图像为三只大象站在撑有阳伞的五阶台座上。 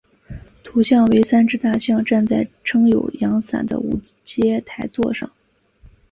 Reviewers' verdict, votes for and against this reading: accepted, 3, 0